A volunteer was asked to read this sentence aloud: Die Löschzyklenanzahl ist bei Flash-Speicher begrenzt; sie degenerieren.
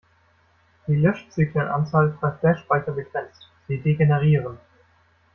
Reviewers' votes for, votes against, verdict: 2, 0, accepted